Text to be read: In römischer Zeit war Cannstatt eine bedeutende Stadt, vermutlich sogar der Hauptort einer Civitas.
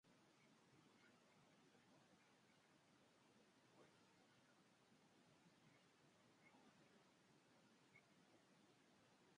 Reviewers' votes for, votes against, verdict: 0, 2, rejected